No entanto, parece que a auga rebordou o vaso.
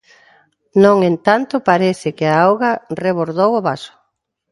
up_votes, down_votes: 0, 2